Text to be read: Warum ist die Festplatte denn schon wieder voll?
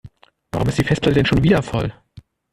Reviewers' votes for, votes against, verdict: 1, 2, rejected